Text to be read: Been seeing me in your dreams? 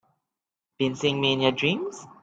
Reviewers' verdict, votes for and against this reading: accepted, 3, 2